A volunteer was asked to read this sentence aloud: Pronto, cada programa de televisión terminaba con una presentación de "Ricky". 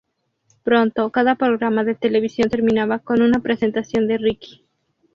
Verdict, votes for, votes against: rejected, 2, 2